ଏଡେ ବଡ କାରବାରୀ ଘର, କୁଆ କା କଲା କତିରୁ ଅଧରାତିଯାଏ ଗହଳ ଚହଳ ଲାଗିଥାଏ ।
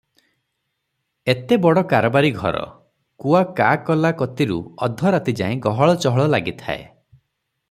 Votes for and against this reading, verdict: 0, 3, rejected